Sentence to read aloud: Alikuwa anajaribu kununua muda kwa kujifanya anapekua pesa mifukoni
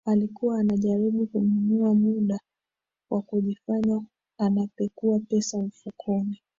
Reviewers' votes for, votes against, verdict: 0, 2, rejected